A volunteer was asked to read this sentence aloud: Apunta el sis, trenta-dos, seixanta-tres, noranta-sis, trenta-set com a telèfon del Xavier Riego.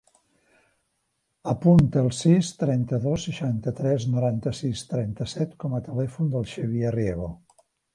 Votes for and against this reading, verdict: 3, 0, accepted